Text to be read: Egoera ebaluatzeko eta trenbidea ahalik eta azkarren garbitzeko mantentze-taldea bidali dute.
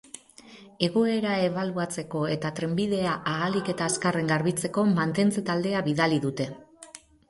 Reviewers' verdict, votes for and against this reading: rejected, 2, 4